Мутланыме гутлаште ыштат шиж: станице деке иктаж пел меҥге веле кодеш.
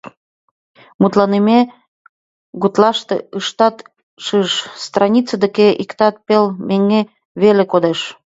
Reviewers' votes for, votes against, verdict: 0, 2, rejected